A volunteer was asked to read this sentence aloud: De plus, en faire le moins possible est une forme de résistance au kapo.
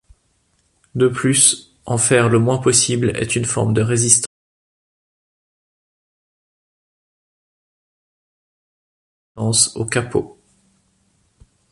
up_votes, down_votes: 0, 2